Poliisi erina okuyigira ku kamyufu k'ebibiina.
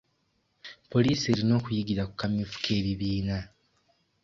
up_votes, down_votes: 2, 0